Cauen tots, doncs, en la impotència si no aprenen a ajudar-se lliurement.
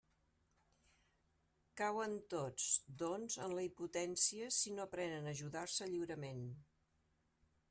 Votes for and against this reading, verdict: 0, 2, rejected